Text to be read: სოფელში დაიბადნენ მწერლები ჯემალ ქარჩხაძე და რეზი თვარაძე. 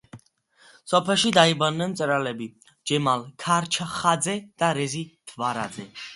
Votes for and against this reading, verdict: 2, 0, accepted